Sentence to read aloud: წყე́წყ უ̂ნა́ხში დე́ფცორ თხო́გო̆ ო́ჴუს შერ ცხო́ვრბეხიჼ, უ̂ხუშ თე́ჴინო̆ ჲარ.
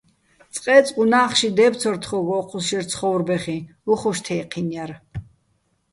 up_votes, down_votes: 2, 0